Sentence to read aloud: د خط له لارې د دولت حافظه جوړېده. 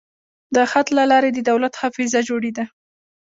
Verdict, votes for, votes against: rejected, 0, 2